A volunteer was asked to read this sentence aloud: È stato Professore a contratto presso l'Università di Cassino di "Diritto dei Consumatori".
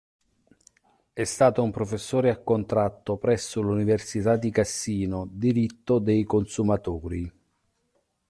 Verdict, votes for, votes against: rejected, 1, 2